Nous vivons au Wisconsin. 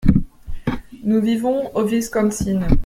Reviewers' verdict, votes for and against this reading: rejected, 0, 2